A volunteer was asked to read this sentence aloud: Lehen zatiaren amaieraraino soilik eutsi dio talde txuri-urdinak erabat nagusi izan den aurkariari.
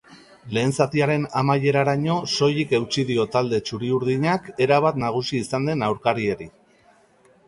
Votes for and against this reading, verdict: 2, 1, accepted